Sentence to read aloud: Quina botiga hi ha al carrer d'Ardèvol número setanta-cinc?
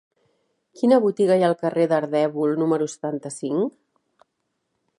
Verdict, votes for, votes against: accepted, 4, 0